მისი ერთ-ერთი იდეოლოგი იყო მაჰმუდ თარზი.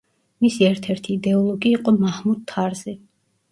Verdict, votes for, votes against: accepted, 2, 0